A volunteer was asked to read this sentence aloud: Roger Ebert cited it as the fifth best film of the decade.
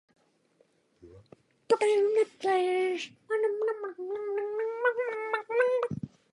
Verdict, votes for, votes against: rejected, 0, 2